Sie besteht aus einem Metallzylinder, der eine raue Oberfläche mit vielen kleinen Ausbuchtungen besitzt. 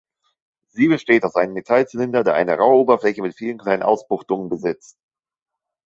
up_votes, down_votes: 3, 1